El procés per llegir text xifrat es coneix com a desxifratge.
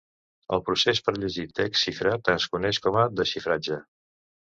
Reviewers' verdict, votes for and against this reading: accepted, 2, 0